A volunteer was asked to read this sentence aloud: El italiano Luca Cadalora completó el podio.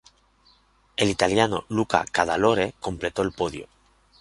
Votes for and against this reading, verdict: 0, 2, rejected